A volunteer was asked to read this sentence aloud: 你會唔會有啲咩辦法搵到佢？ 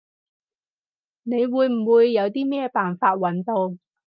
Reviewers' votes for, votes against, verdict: 0, 4, rejected